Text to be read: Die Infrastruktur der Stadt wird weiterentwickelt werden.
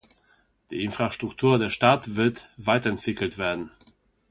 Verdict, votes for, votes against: accepted, 2, 0